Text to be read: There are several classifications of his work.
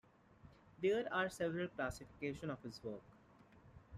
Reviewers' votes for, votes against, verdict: 1, 2, rejected